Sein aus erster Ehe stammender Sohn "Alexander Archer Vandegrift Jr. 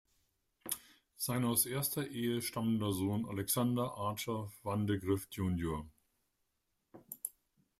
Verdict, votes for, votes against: rejected, 1, 2